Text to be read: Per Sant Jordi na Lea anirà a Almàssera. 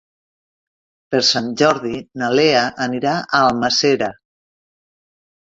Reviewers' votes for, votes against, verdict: 1, 2, rejected